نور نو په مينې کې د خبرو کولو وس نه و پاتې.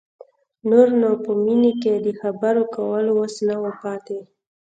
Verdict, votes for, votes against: accepted, 2, 0